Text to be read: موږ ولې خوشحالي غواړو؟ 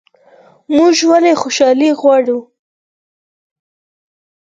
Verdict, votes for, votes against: accepted, 4, 0